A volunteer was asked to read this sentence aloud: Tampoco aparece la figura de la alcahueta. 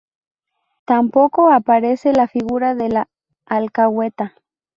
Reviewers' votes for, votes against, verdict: 0, 2, rejected